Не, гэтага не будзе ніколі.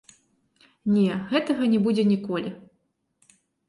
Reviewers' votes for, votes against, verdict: 1, 2, rejected